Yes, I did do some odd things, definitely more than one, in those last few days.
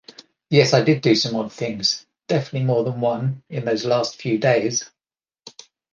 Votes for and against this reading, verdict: 2, 0, accepted